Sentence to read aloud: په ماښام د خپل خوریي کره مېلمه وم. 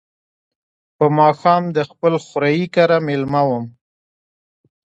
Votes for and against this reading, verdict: 2, 0, accepted